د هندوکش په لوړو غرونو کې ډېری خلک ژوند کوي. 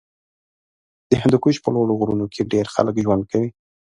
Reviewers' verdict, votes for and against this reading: rejected, 1, 2